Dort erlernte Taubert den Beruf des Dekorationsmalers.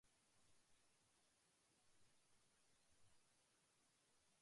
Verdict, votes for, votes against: rejected, 0, 2